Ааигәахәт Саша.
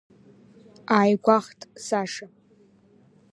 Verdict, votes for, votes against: rejected, 0, 2